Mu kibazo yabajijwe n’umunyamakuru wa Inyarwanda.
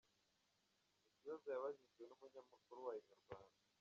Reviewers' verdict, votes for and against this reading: rejected, 1, 2